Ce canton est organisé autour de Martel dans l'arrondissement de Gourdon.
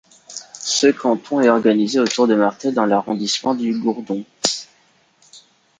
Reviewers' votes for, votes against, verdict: 0, 3, rejected